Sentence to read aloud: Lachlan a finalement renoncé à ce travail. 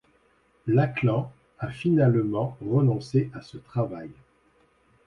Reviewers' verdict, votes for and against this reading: accepted, 2, 0